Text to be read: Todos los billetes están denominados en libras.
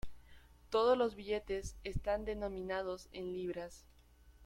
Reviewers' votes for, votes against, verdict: 2, 0, accepted